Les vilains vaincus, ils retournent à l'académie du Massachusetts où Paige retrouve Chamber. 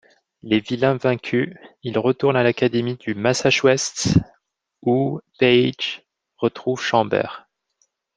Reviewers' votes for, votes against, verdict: 0, 2, rejected